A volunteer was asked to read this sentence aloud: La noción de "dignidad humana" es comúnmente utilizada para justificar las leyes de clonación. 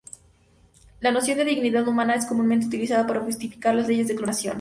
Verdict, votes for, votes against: rejected, 2, 2